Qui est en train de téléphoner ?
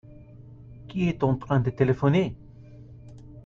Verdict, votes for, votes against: accepted, 2, 0